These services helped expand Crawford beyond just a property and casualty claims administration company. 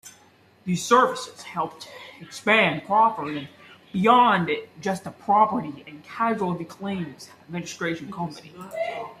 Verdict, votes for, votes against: accepted, 2, 0